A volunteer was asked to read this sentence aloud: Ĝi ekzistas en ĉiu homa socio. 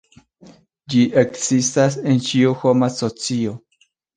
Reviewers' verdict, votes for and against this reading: accepted, 2, 1